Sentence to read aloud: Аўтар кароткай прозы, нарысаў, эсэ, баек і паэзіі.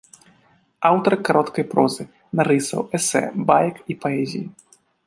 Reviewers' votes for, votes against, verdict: 1, 2, rejected